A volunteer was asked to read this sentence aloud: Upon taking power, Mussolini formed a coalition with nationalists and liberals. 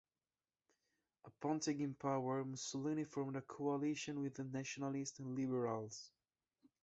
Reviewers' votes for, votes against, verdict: 2, 0, accepted